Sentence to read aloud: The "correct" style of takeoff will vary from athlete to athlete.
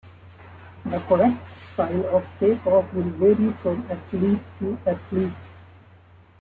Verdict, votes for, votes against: accepted, 2, 1